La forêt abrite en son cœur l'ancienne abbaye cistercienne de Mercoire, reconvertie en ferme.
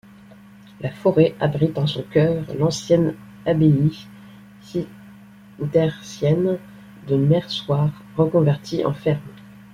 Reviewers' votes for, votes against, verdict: 1, 2, rejected